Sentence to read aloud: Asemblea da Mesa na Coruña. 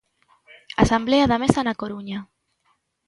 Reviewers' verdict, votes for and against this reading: rejected, 1, 2